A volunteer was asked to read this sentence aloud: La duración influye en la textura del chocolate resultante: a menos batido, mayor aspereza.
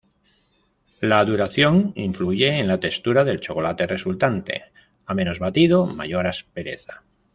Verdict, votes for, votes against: rejected, 0, 2